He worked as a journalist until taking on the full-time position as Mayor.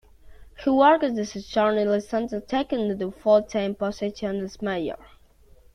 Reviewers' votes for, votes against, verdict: 2, 1, accepted